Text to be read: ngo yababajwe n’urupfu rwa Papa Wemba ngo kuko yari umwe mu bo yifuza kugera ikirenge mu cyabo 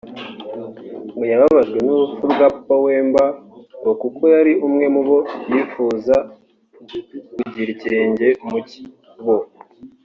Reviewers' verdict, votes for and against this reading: rejected, 2, 3